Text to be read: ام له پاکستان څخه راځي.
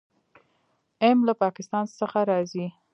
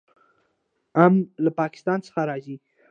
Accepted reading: second